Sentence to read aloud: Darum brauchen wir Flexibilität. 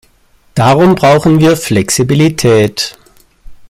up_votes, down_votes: 2, 0